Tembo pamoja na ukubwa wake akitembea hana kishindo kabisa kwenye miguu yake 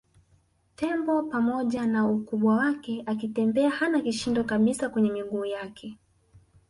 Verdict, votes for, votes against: accepted, 3, 0